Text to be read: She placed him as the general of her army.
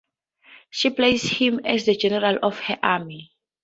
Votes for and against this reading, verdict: 2, 0, accepted